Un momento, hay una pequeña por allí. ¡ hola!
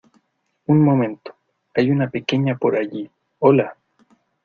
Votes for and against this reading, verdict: 2, 1, accepted